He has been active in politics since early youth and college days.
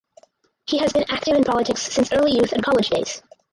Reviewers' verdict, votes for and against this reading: rejected, 0, 4